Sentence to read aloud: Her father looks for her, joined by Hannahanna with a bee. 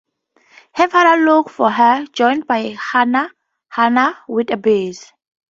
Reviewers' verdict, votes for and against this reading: rejected, 0, 2